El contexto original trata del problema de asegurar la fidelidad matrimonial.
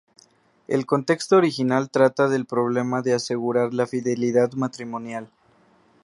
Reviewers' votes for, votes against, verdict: 2, 0, accepted